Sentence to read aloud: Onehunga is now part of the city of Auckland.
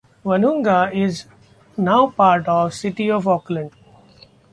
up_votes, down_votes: 0, 2